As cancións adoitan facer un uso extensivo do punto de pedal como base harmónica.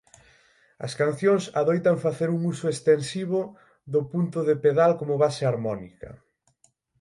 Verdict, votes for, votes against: accepted, 6, 0